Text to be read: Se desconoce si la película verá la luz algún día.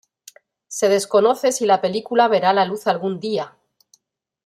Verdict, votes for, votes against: accepted, 2, 0